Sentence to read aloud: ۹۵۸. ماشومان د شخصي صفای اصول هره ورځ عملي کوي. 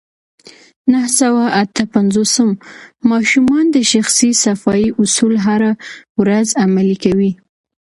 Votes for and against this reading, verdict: 0, 2, rejected